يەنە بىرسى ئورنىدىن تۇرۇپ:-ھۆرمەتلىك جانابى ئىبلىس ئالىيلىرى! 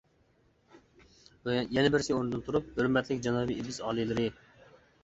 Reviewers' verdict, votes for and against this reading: rejected, 1, 2